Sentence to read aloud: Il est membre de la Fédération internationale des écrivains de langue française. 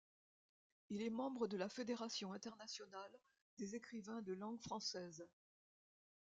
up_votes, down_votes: 1, 2